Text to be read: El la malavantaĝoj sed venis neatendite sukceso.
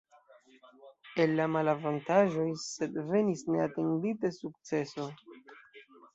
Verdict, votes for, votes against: accepted, 2, 0